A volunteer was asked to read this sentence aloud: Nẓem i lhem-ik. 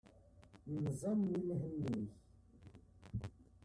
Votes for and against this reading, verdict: 1, 2, rejected